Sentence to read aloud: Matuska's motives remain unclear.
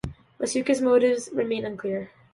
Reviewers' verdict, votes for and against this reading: accepted, 2, 0